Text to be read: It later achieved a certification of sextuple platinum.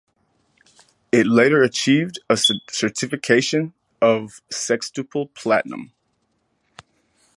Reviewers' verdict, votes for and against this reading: rejected, 0, 2